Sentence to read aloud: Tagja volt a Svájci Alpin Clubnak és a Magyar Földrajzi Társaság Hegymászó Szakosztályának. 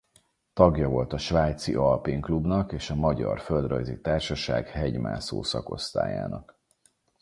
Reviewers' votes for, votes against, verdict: 4, 0, accepted